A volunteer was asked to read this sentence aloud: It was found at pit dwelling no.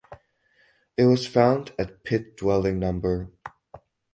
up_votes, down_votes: 2, 4